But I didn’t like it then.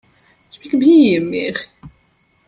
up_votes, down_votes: 1, 2